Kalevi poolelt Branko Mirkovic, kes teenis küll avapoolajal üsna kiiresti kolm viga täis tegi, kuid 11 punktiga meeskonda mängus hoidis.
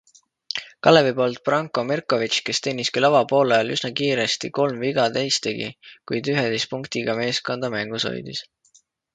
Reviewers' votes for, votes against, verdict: 0, 2, rejected